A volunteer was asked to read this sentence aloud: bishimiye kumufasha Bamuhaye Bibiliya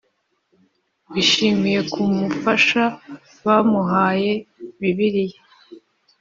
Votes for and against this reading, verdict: 2, 0, accepted